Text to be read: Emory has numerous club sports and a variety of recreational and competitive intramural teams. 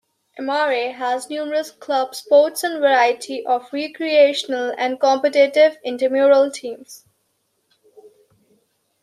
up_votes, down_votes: 2, 0